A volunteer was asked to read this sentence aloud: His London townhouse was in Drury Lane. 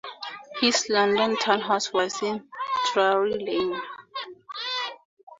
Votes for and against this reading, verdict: 2, 0, accepted